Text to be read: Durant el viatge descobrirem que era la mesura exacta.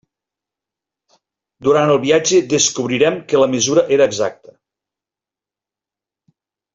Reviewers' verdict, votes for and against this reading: rejected, 0, 2